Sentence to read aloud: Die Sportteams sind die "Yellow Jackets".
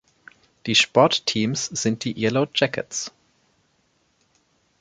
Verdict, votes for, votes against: accepted, 2, 0